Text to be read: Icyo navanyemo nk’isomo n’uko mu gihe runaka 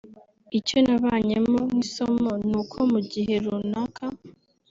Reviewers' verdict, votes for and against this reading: rejected, 1, 2